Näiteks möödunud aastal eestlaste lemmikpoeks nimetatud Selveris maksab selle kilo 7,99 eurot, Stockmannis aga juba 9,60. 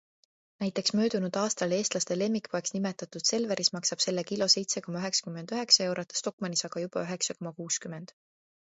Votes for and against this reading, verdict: 0, 2, rejected